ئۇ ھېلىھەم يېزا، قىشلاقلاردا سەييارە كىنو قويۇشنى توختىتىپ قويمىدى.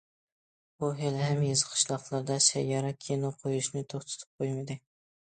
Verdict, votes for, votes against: accepted, 2, 1